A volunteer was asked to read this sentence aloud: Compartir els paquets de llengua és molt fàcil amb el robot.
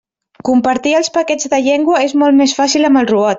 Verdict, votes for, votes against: rejected, 0, 2